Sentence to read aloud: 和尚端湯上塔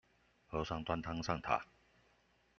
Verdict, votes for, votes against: accepted, 2, 0